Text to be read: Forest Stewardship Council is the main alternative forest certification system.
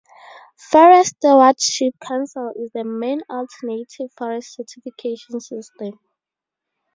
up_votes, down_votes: 4, 2